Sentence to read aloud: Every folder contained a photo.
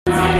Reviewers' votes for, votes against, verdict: 0, 2, rejected